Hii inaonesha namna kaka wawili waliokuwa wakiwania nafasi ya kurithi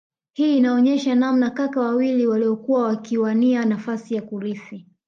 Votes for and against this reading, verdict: 2, 1, accepted